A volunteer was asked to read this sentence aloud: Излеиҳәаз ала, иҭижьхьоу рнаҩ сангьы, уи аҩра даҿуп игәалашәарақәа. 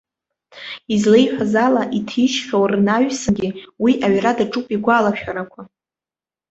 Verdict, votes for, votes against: rejected, 1, 2